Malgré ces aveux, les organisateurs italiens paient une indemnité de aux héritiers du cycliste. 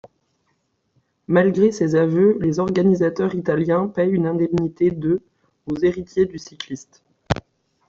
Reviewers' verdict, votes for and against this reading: rejected, 1, 2